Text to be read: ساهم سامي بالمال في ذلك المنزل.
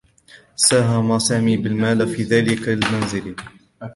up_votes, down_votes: 2, 1